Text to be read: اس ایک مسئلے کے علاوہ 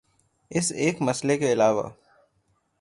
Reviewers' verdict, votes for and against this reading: rejected, 0, 3